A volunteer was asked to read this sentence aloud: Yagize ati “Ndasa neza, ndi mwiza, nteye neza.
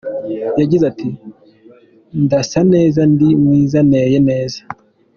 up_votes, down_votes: 4, 0